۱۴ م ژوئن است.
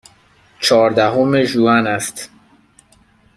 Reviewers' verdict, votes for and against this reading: rejected, 0, 2